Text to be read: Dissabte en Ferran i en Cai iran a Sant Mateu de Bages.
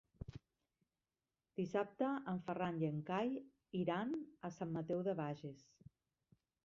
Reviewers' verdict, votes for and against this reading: rejected, 0, 3